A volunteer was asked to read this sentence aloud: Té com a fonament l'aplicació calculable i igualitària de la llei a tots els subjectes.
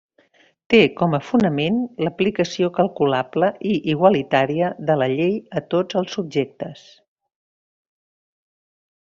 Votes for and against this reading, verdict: 0, 2, rejected